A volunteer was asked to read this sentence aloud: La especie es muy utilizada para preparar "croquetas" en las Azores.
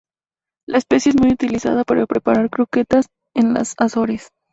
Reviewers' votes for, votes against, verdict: 2, 0, accepted